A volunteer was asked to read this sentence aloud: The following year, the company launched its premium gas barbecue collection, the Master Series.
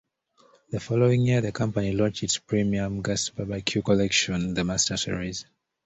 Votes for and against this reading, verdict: 2, 0, accepted